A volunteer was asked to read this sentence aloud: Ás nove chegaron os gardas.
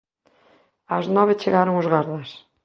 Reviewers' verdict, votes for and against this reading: accepted, 2, 0